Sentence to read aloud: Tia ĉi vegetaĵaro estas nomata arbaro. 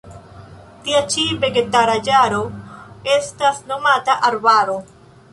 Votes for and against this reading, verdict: 0, 2, rejected